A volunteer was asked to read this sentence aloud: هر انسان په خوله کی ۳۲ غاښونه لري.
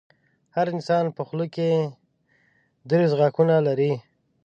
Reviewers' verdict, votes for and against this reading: rejected, 0, 2